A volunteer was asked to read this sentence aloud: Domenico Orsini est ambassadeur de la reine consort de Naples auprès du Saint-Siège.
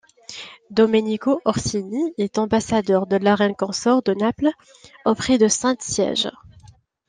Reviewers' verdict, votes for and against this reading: rejected, 0, 2